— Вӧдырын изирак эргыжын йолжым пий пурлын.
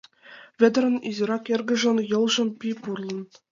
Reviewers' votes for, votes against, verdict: 2, 0, accepted